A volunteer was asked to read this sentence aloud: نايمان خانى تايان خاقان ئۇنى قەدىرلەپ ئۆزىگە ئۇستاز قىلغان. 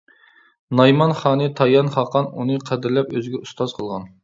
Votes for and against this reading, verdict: 2, 0, accepted